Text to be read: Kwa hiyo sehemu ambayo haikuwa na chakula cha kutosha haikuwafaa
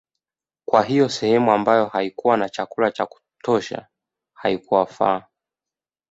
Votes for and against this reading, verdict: 2, 0, accepted